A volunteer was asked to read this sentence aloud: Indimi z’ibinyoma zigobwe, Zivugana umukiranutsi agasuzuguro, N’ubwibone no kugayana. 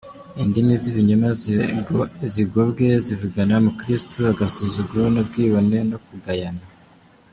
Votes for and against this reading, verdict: 0, 2, rejected